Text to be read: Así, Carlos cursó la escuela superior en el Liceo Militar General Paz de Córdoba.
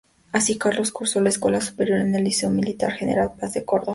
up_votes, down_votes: 2, 0